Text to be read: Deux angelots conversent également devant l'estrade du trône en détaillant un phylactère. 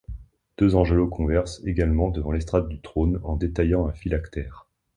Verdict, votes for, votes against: accepted, 2, 0